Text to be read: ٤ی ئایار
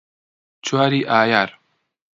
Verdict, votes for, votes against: rejected, 0, 2